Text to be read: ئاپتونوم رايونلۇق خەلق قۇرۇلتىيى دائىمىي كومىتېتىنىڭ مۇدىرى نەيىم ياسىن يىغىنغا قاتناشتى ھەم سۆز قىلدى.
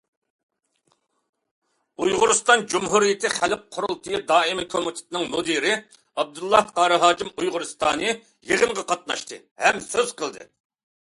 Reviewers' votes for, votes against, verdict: 0, 2, rejected